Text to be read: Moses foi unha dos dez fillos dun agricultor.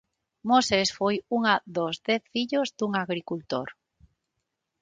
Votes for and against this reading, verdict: 6, 3, accepted